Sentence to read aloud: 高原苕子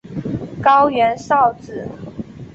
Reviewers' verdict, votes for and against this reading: accepted, 3, 1